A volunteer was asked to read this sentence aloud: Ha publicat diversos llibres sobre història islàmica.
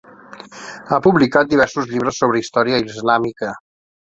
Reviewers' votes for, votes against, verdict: 3, 0, accepted